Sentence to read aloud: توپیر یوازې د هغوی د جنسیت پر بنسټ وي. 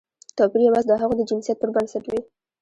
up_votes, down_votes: 2, 0